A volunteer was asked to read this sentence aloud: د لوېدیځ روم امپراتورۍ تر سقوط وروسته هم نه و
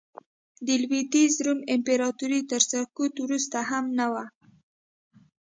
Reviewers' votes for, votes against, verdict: 2, 0, accepted